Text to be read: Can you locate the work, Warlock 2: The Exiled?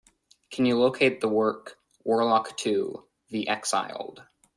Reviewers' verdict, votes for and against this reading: rejected, 0, 2